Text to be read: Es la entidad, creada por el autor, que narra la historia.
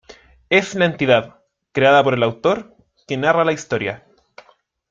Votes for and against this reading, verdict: 1, 2, rejected